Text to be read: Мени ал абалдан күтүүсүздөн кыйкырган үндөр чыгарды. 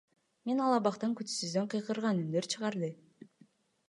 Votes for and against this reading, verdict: 1, 2, rejected